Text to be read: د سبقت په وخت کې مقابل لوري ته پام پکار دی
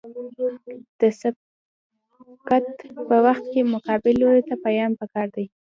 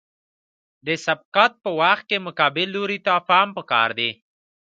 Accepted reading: second